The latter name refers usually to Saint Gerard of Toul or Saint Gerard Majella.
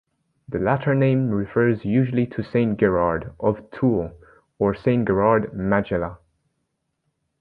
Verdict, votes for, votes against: rejected, 0, 2